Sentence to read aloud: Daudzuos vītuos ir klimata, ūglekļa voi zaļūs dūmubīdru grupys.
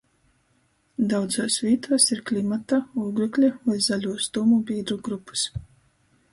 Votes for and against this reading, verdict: 2, 0, accepted